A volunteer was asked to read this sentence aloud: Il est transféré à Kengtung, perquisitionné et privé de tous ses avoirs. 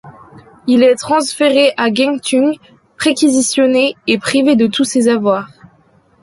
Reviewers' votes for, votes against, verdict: 0, 2, rejected